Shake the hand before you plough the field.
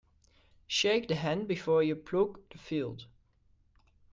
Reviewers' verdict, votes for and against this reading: rejected, 0, 2